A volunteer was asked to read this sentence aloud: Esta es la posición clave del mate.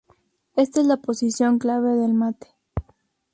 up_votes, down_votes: 0, 2